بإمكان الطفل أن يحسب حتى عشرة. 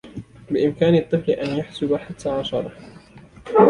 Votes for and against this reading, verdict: 2, 0, accepted